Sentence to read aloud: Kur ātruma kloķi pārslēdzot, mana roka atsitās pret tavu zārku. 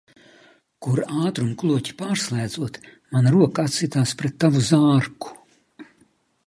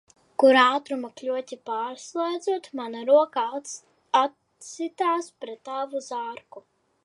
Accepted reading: first